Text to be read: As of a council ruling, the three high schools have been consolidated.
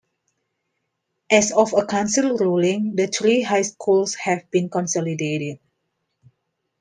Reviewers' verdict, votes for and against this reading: accepted, 2, 0